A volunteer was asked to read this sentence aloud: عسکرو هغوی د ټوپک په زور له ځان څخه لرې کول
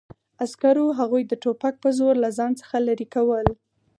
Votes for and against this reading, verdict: 4, 0, accepted